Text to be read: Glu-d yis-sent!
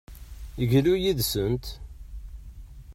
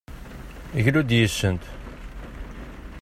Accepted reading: second